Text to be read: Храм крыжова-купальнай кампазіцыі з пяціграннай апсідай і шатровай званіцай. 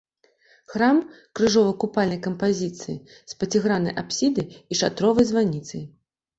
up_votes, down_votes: 2, 1